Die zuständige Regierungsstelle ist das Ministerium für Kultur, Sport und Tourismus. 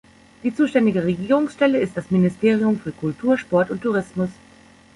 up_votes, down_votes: 3, 0